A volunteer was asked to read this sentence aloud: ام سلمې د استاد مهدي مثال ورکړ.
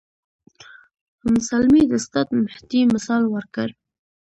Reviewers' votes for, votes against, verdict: 1, 2, rejected